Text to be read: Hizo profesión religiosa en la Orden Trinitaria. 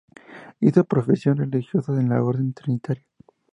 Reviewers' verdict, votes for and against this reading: accepted, 2, 0